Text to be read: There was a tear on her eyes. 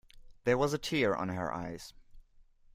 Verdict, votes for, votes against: accepted, 2, 0